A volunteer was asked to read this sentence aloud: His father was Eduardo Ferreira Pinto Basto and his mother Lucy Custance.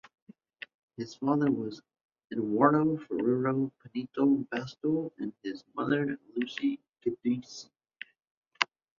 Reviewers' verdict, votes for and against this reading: rejected, 0, 2